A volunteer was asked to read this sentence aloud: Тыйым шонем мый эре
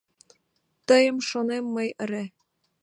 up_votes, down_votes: 2, 0